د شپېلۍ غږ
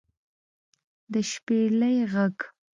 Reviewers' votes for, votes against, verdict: 2, 0, accepted